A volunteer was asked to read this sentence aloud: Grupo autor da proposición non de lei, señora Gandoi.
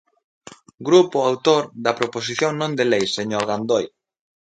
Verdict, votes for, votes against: rejected, 1, 2